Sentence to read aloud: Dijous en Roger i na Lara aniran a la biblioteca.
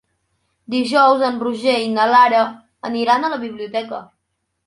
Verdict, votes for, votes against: accepted, 3, 0